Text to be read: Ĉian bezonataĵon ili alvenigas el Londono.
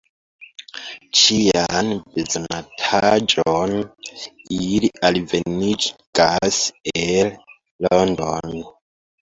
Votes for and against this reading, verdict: 0, 2, rejected